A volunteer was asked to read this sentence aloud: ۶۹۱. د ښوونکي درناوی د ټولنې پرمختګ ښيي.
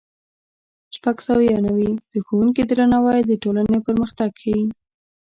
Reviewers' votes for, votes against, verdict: 0, 2, rejected